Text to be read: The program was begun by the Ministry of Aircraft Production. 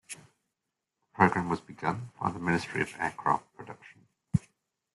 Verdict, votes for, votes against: accepted, 2, 0